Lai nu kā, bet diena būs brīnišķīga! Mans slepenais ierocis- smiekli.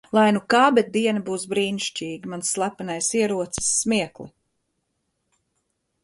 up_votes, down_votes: 2, 0